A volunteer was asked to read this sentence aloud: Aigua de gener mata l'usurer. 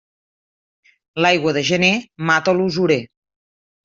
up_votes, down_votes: 1, 2